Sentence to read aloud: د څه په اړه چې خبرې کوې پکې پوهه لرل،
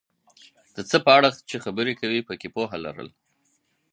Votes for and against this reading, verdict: 4, 0, accepted